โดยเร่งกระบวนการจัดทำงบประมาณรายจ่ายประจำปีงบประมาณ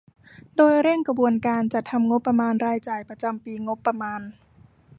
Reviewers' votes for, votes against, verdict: 2, 0, accepted